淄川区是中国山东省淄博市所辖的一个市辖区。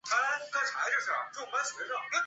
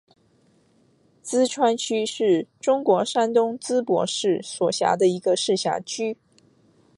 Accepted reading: second